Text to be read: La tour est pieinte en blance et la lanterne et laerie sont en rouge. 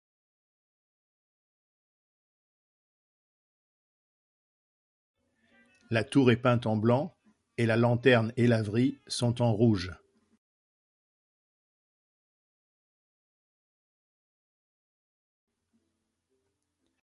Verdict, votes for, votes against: rejected, 1, 3